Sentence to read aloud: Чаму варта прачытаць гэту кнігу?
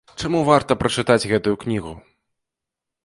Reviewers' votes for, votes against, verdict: 0, 2, rejected